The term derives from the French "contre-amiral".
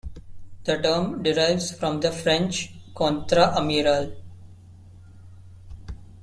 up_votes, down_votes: 2, 1